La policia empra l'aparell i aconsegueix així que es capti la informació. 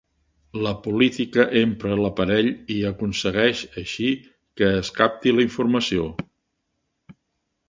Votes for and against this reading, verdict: 0, 2, rejected